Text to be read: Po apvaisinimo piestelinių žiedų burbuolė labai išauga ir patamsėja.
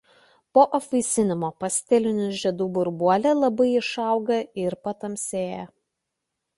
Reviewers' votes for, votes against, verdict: 0, 2, rejected